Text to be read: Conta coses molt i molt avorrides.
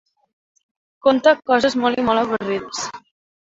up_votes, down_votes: 4, 1